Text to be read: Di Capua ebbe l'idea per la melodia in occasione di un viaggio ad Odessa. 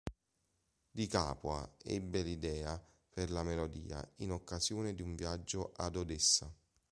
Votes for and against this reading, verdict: 2, 0, accepted